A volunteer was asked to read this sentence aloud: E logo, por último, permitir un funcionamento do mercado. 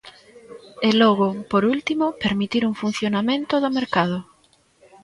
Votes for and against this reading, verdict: 0, 2, rejected